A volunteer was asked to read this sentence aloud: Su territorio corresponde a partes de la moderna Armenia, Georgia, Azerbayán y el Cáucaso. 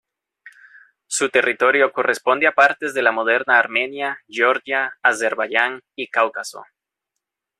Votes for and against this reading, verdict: 0, 2, rejected